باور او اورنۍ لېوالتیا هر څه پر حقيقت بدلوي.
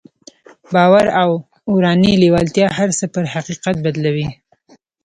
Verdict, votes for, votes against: rejected, 1, 2